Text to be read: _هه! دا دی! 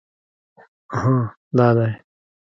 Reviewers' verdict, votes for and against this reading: rejected, 1, 2